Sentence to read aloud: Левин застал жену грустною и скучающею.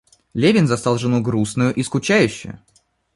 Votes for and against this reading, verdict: 2, 1, accepted